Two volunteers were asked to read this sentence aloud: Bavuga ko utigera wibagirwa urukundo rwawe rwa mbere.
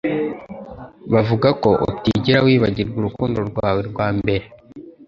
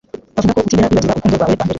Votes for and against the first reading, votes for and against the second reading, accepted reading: 2, 0, 0, 2, first